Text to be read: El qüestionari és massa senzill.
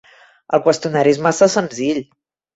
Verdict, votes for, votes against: accepted, 3, 0